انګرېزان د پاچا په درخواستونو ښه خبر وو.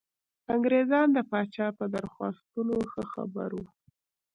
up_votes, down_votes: 0, 2